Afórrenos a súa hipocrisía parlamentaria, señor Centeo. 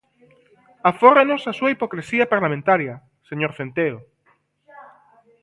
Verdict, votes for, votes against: accepted, 2, 1